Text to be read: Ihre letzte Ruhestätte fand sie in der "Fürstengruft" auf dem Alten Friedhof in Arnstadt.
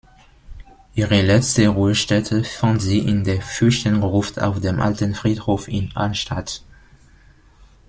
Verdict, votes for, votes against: accepted, 2, 1